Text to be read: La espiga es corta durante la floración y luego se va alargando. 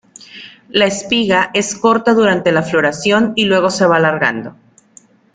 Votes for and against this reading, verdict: 2, 0, accepted